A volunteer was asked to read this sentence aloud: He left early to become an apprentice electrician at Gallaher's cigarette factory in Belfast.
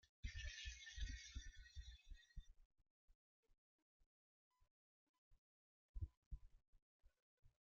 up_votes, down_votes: 0, 2